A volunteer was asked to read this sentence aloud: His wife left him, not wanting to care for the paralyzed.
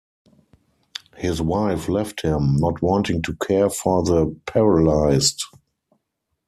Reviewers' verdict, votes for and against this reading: accepted, 4, 0